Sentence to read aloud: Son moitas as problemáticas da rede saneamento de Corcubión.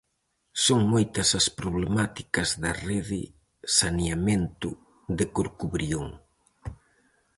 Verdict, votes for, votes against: rejected, 0, 4